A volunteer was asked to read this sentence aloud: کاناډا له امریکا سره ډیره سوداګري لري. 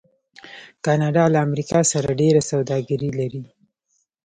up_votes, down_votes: 1, 2